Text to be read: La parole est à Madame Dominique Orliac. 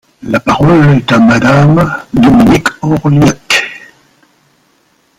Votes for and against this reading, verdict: 0, 2, rejected